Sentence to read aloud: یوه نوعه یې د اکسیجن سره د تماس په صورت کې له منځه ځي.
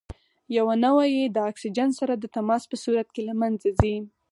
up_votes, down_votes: 4, 0